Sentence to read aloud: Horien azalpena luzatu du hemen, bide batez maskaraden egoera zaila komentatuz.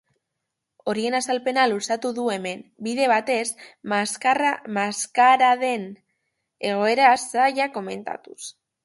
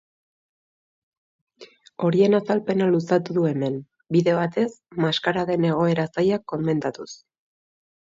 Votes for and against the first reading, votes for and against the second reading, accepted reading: 0, 2, 3, 0, second